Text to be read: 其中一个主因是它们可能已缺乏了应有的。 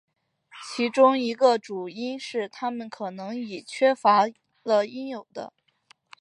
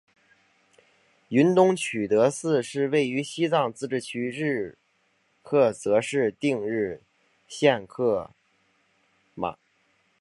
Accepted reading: first